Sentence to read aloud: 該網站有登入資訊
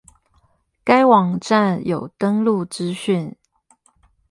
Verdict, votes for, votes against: rejected, 4, 4